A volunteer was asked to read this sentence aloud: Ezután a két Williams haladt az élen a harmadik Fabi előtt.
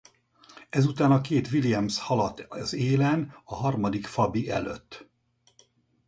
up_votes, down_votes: 2, 2